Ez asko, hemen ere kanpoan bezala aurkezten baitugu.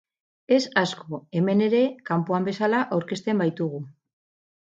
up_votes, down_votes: 2, 2